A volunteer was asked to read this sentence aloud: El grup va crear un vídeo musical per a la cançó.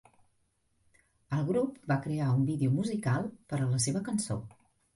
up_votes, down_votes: 0, 2